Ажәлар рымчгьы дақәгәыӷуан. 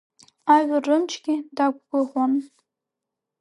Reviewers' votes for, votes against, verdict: 3, 0, accepted